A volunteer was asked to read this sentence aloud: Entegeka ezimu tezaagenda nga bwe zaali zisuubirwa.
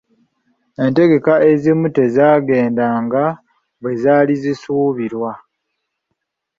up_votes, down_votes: 2, 0